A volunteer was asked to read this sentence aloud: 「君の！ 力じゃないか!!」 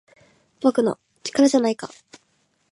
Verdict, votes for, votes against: rejected, 1, 2